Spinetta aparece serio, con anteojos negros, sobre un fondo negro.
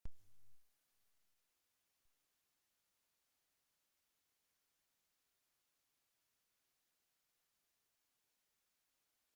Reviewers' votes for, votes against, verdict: 0, 2, rejected